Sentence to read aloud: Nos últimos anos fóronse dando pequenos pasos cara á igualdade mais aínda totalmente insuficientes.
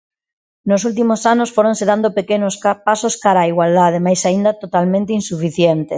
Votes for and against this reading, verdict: 0, 2, rejected